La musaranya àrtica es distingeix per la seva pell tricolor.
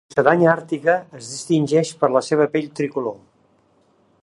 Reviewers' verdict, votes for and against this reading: rejected, 0, 2